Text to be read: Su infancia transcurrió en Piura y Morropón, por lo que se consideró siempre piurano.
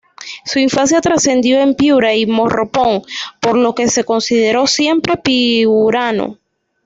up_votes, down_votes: 1, 2